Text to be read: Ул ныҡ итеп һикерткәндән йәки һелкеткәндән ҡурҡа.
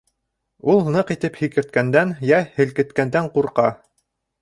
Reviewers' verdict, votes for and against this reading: rejected, 0, 2